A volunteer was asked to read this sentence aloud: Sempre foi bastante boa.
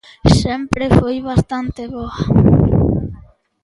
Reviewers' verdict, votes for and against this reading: accepted, 2, 1